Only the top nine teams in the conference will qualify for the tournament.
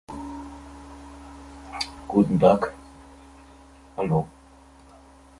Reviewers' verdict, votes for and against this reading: rejected, 0, 2